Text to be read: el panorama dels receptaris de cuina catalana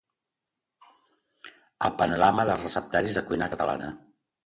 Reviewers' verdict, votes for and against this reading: accepted, 2, 0